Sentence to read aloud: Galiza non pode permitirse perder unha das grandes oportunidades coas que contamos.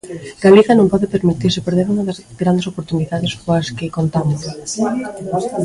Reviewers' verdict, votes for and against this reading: rejected, 1, 2